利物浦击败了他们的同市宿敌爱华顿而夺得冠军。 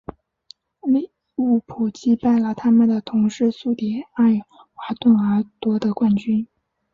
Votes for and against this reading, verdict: 1, 2, rejected